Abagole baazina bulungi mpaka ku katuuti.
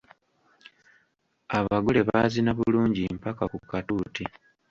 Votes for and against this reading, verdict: 1, 2, rejected